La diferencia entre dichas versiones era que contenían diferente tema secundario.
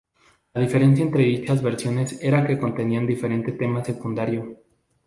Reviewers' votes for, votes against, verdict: 2, 0, accepted